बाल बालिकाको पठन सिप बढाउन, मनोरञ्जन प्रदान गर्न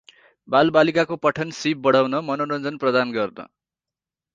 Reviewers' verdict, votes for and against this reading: rejected, 2, 2